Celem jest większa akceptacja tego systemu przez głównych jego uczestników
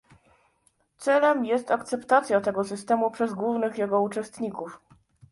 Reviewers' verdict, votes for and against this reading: rejected, 0, 2